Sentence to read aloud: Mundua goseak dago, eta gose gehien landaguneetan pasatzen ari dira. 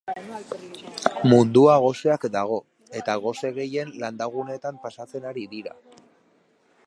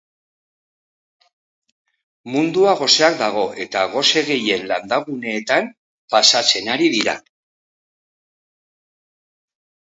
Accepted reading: second